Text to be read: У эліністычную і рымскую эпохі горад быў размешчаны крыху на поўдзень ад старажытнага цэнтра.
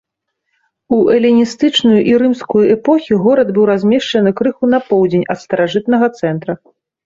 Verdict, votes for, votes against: accepted, 2, 1